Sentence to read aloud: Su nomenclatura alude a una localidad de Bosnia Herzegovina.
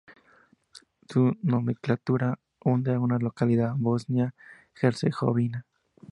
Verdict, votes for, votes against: rejected, 0, 2